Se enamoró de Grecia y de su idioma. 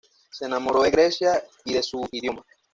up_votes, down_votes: 2, 1